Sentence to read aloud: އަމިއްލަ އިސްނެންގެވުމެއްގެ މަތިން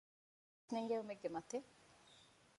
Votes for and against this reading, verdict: 1, 2, rejected